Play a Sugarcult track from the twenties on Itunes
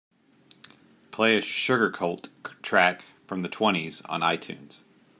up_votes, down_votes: 2, 0